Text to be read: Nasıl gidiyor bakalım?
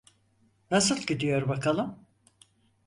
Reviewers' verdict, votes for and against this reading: accepted, 4, 0